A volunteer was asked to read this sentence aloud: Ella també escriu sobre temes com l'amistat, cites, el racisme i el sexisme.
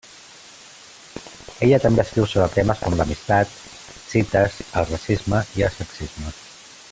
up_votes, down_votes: 1, 2